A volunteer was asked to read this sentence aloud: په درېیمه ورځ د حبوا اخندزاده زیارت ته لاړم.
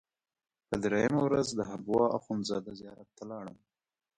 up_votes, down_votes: 1, 2